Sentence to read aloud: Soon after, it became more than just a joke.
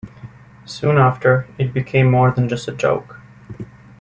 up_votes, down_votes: 1, 2